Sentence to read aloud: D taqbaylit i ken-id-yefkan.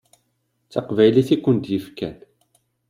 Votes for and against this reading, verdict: 2, 0, accepted